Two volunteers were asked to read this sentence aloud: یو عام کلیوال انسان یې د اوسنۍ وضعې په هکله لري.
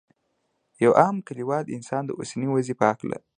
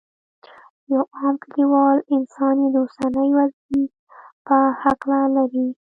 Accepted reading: first